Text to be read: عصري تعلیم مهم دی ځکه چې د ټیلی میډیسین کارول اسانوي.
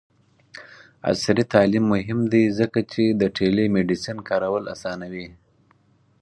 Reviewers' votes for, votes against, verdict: 4, 0, accepted